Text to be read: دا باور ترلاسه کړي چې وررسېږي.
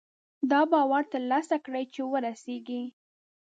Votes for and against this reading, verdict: 1, 2, rejected